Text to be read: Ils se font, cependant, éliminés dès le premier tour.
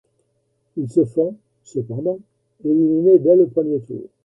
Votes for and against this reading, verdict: 2, 1, accepted